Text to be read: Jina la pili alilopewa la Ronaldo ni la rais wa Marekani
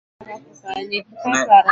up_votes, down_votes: 1, 12